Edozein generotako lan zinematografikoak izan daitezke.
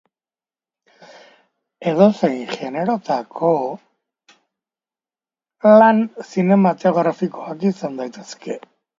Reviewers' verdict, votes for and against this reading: rejected, 2, 3